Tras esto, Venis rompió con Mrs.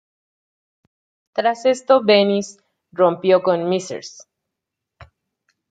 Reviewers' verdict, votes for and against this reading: rejected, 0, 2